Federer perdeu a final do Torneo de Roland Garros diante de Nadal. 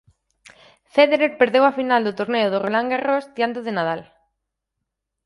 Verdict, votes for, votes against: rejected, 2, 4